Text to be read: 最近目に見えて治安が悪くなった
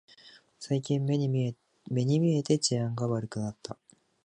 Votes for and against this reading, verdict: 0, 2, rejected